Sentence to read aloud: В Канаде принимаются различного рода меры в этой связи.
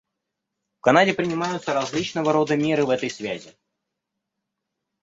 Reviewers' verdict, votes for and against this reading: rejected, 1, 2